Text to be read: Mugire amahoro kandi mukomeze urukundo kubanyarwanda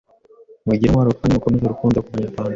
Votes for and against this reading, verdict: 1, 2, rejected